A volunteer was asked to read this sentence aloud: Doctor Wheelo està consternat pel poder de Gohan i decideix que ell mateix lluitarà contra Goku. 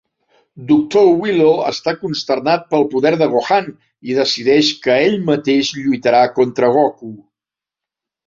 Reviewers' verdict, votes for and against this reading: accepted, 2, 0